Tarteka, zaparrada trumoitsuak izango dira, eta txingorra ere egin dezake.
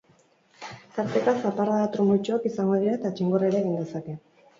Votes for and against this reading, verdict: 8, 2, accepted